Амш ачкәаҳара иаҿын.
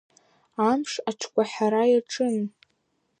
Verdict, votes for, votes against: rejected, 3, 4